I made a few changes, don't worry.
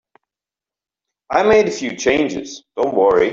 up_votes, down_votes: 2, 1